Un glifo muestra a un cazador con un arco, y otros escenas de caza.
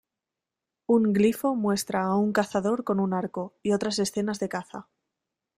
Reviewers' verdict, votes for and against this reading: rejected, 1, 2